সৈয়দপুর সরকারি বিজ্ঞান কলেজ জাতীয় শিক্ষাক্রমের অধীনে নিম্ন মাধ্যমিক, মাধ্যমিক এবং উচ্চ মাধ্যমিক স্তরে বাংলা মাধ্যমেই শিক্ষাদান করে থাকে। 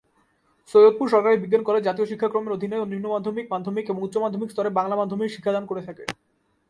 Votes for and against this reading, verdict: 4, 4, rejected